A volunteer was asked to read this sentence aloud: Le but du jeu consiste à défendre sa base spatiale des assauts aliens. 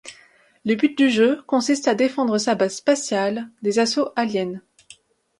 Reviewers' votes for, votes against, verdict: 2, 0, accepted